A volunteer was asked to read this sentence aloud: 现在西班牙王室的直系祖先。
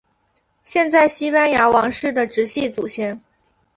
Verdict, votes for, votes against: accepted, 2, 0